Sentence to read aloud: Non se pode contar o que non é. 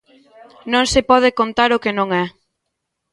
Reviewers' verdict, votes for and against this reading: accepted, 2, 0